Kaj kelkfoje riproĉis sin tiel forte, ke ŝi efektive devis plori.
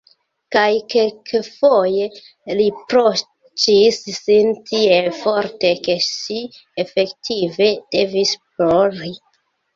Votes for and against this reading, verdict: 1, 2, rejected